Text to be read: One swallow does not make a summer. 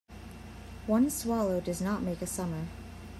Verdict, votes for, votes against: accepted, 2, 0